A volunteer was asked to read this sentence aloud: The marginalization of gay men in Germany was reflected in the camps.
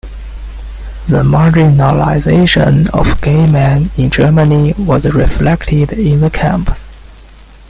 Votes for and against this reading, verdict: 0, 2, rejected